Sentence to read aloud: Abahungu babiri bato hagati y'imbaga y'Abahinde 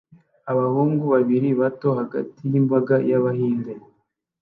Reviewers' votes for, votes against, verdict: 2, 0, accepted